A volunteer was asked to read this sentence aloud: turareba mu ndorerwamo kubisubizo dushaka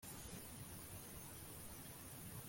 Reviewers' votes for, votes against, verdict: 0, 2, rejected